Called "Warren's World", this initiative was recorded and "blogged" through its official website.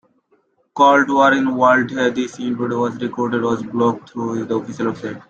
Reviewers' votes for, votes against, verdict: 0, 2, rejected